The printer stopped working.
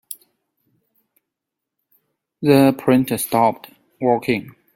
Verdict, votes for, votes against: rejected, 1, 2